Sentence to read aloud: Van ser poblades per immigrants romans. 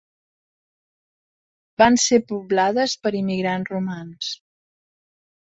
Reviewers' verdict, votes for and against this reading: accepted, 3, 1